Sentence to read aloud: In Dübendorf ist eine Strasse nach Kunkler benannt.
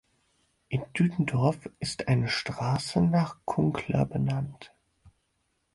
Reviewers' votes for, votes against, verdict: 4, 0, accepted